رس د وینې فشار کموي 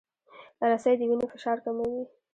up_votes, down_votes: 0, 2